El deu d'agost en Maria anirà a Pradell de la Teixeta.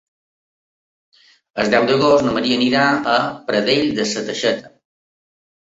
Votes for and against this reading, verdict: 1, 2, rejected